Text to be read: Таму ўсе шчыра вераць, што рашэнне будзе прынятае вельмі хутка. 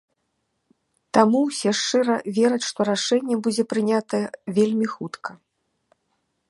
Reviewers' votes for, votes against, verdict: 2, 0, accepted